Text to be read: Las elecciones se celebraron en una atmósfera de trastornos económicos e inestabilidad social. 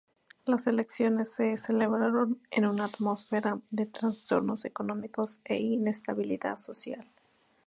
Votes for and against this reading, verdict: 2, 0, accepted